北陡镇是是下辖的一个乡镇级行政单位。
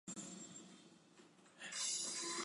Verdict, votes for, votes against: rejected, 1, 2